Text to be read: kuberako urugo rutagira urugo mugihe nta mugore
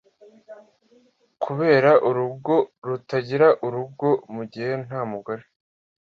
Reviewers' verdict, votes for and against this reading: rejected, 0, 2